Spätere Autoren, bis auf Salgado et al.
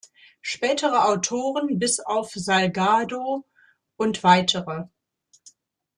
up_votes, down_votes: 0, 2